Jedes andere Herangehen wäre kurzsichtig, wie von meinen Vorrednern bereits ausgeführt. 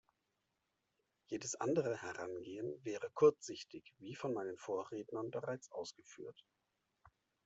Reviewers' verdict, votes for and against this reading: accepted, 2, 1